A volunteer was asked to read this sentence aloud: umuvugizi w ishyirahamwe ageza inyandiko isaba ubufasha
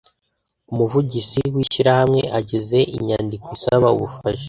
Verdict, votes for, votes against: rejected, 1, 2